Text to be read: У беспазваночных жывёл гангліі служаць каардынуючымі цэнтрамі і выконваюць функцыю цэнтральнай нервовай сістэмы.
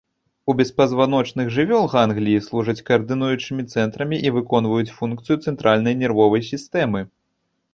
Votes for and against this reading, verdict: 1, 2, rejected